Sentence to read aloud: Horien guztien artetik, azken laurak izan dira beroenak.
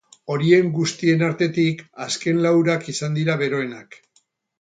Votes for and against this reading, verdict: 4, 0, accepted